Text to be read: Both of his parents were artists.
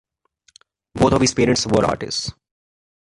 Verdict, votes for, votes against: accepted, 2, 0